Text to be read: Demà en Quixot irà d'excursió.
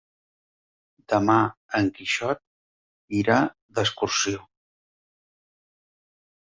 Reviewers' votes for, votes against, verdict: 3, 0, accepted